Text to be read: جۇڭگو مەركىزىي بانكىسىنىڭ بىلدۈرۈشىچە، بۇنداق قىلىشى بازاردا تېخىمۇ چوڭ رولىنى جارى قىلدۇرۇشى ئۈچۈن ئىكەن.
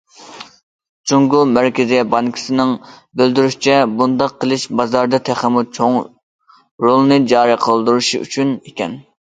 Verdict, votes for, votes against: rejected, 1, 2